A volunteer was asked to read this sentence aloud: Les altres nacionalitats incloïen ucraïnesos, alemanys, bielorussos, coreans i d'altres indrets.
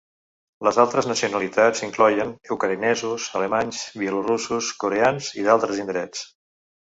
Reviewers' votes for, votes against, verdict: 1, 2, rejected